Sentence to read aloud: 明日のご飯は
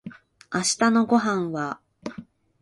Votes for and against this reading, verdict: 3, 1, accepted